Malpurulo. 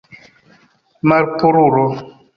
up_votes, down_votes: 2, 1